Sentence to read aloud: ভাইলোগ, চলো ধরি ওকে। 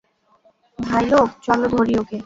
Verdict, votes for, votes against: rejected, 0, 2